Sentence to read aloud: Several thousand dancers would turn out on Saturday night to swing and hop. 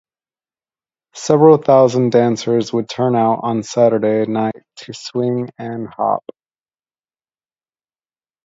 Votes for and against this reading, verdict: 2, 0, accepted